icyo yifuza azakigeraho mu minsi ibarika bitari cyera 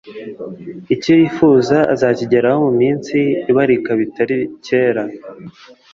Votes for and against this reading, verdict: 2, 0, accepted